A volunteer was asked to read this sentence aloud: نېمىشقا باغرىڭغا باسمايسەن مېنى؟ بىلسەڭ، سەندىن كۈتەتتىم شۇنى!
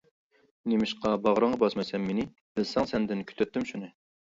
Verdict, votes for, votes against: accepted, 2, 1